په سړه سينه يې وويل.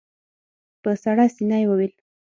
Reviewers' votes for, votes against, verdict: 6, 0, accepted